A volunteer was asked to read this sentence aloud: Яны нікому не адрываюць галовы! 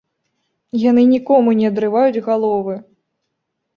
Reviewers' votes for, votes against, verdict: 2, 0, accepted